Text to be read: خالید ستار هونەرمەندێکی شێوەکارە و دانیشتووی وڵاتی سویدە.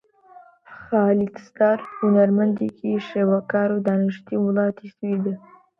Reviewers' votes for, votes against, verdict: 2, 0, accepted